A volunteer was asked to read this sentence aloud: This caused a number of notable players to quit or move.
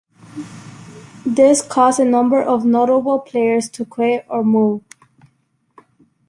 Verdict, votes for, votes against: accepted, 2, 0